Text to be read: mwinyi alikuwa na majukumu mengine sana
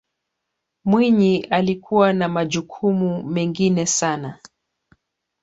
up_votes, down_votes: 1, 2